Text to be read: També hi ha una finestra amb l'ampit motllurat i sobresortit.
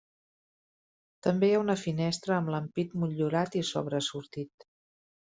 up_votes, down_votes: 1, 2